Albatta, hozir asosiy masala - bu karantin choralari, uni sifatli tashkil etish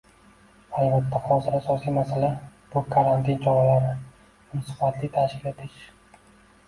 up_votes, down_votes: 2, 0